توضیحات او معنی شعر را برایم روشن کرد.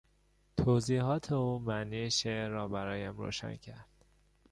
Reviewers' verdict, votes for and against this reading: accepted, 2, 0